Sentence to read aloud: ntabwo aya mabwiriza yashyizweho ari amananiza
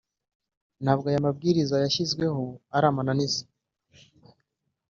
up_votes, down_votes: 1, 2